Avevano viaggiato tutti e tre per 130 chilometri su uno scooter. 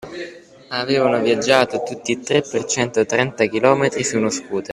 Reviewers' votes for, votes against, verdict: 0, 2, rejected